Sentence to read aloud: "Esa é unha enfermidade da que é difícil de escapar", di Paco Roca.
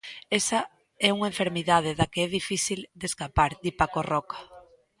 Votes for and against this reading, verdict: 2, 0, accepted